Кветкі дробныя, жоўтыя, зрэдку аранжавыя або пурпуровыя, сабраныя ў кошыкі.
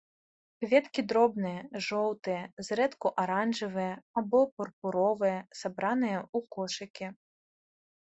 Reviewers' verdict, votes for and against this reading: accepted, 2, 0